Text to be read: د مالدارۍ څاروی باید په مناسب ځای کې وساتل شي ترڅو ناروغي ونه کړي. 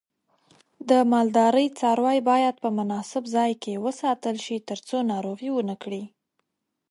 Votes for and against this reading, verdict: 2, 0, accepted